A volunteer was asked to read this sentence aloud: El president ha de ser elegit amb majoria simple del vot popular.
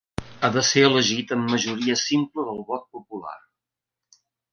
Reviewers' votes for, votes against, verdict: 0, 2, rejected